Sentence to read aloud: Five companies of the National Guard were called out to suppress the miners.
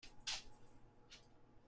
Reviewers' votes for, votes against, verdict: 0, 2, rejected